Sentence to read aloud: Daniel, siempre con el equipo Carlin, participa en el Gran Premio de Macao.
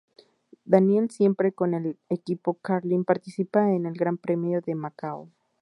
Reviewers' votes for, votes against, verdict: 0, 4, rejected